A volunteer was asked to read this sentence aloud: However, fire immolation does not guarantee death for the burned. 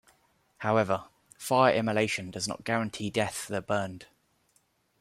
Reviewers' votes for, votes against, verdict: 2, 0, accepted